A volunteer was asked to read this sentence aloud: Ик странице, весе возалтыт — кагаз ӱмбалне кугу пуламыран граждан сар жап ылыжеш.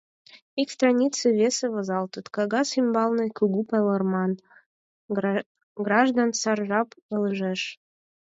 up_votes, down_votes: 0, 4